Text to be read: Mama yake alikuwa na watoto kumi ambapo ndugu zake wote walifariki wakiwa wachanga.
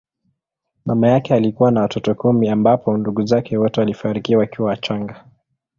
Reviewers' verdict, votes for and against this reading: accepted, 2, 0